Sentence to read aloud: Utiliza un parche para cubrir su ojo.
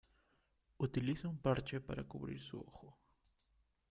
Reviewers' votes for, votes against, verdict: 0, 2, rejected